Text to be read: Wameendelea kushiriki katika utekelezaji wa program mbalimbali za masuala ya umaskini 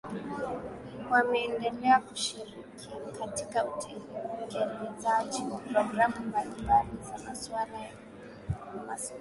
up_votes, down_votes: 1, 2